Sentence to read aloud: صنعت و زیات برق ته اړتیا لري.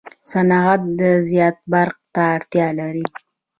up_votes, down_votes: 1, 2